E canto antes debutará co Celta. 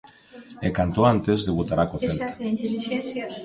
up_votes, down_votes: 2, 1